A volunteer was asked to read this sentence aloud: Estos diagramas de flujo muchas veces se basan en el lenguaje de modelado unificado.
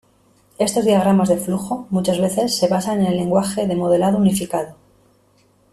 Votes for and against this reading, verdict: 2, 1, accepted